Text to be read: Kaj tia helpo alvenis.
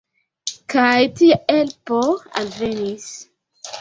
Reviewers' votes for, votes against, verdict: 2, 0, accepted